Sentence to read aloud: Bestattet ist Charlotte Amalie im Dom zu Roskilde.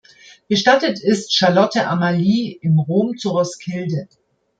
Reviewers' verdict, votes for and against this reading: rejected, 1, 2